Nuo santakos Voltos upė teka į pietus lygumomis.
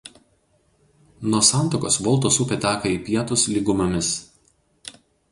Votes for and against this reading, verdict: 0, 2, rejected